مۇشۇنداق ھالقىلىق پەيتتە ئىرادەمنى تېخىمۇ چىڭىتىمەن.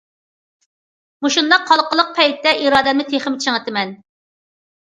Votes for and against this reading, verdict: 2, 0, accepted